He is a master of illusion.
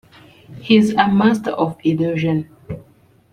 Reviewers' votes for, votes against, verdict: 2, 0, accepted